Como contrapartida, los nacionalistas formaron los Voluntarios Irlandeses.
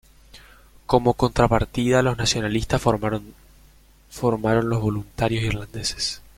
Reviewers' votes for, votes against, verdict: 0, 2, rejected